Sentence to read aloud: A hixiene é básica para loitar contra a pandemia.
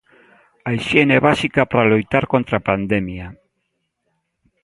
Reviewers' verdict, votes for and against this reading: accepted, 2, 0